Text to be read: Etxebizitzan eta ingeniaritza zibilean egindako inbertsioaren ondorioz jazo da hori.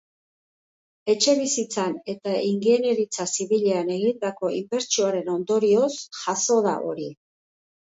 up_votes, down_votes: 1, 2